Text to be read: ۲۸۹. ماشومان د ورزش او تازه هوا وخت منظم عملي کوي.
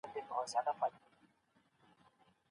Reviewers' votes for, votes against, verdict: 0, 2, rejected